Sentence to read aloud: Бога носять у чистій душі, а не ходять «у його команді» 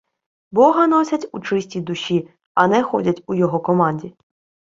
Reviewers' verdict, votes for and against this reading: accepted, 2, 0